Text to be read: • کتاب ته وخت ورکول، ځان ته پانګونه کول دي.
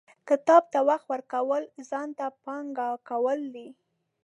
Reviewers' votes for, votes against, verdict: 4, 5, rejected